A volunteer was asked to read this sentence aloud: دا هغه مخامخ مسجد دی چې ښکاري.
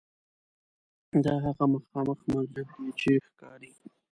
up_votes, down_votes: 0, 2